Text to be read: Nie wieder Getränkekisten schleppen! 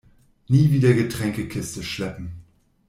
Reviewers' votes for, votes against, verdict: 0, 2, rejected